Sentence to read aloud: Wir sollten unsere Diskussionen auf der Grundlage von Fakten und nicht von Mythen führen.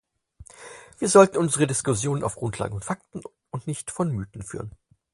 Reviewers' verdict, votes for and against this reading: rejected, 0, 4